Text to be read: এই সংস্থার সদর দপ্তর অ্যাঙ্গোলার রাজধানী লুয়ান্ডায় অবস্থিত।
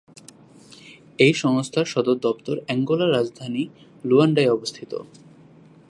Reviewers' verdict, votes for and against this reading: accepted, 2, 0